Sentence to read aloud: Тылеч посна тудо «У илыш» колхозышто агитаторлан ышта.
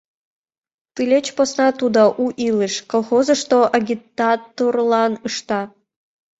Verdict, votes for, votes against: rejected, 1, 2